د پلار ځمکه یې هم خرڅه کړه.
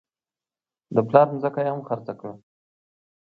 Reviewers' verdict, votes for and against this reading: accepted, 2, 0